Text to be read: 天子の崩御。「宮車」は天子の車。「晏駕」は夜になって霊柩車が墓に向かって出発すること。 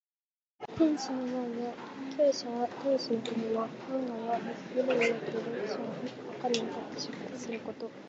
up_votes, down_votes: 0, 4